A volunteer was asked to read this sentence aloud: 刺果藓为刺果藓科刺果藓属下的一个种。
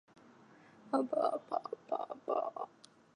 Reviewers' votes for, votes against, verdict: 0, 3, rejected